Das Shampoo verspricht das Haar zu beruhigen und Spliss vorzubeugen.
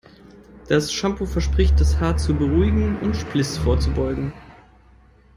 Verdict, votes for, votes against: accepted, 2, 0